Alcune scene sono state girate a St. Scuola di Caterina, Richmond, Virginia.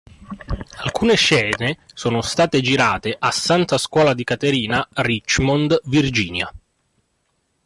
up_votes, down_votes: 2, 1